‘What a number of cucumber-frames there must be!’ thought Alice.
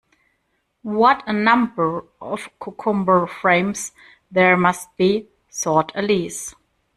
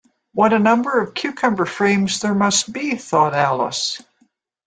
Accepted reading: second